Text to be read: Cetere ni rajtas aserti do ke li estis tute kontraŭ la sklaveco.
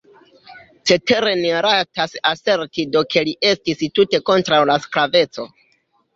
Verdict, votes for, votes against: accepted, 2, 0